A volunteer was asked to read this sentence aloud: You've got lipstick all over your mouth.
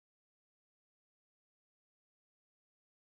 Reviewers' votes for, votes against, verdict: 0, 2, rejected